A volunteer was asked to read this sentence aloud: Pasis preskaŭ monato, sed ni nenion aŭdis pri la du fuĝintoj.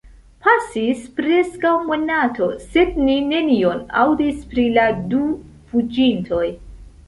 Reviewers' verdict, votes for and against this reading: accepted, 2, 1